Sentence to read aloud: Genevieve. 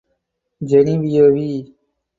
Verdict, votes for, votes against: rejected, 2, 6